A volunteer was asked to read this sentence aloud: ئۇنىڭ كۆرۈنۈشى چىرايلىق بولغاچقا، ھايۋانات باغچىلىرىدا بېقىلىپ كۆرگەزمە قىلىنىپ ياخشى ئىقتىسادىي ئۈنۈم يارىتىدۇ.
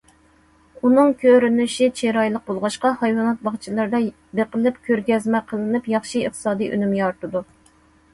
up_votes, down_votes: 2, 0